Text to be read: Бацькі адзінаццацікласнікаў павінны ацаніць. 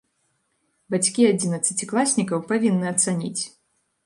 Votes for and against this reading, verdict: 2, 0, accepted